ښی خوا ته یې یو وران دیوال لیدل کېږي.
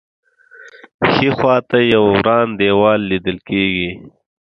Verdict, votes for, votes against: accepted, 2, 0